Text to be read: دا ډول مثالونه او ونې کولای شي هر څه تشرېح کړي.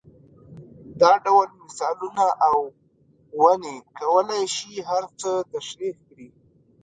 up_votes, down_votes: 2, 0